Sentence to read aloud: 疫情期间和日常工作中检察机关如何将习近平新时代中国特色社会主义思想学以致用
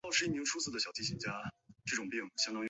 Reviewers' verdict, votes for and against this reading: rejected, 0, 2